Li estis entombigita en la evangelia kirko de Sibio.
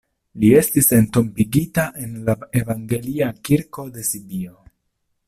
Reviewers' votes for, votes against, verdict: 2, 0, accepted